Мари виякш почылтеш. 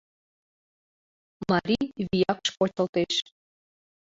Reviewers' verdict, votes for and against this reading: rejected, 0, 2